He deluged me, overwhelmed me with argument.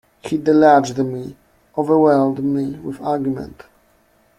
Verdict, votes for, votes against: rejected, 0, 2